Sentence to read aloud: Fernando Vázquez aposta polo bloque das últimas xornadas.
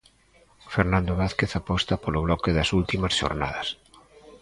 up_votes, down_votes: 2, 0